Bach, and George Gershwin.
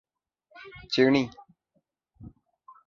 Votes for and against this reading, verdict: 0, 3, rejected